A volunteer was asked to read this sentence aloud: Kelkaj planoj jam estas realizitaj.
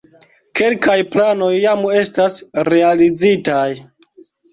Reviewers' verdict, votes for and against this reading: rejected, 0, 2